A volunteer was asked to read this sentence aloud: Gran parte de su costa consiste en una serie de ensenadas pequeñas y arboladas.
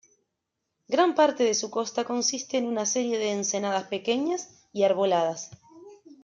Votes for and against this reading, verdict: 2, 1, accepted